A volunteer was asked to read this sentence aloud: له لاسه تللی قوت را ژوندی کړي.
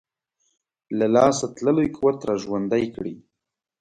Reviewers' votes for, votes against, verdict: 2, 0, accepted